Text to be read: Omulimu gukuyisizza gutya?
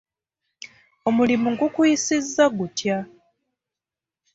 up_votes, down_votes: 2, 0